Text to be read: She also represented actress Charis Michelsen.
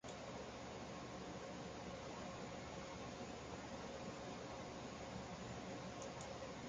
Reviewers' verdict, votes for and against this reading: rejected, 0, 2